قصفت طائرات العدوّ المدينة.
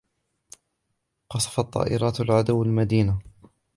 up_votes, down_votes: 2, 0